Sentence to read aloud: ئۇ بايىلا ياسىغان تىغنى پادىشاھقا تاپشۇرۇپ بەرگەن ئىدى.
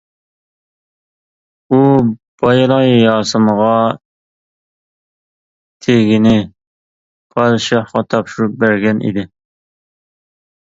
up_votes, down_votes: 0, 2